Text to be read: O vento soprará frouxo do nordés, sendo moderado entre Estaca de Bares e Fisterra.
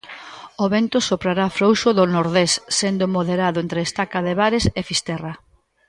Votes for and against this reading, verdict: 2, 0, accepted